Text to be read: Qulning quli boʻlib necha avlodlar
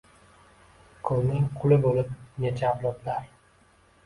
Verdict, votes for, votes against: accepted, 2, 0